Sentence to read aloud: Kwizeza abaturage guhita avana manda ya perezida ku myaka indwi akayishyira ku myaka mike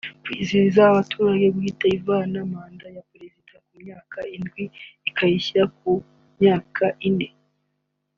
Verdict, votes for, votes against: rejected, 0, 2